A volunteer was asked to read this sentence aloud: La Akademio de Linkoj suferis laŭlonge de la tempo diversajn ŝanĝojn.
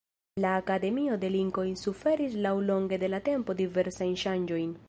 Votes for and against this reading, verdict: 2, 0, accepted